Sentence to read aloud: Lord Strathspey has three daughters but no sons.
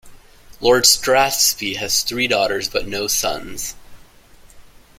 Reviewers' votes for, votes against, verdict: 2, 0, accepted